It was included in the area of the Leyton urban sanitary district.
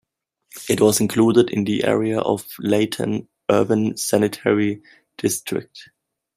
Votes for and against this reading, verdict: 1, 2, rejected